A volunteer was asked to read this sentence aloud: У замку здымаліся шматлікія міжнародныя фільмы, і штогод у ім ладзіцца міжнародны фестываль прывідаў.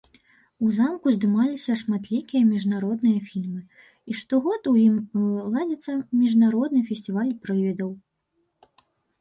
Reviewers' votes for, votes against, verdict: 1, 2, rejected